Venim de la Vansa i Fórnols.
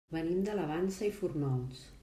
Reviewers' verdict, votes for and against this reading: rejected, 0, 2